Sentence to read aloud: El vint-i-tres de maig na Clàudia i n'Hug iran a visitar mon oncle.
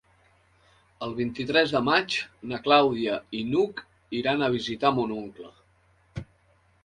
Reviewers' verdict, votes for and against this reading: accepted, 2, 0